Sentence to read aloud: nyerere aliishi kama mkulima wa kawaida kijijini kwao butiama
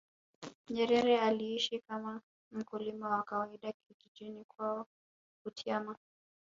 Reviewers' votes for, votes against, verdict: 0, 2, rejected